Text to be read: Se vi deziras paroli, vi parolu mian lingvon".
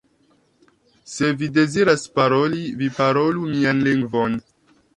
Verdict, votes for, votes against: accepted, 2, 0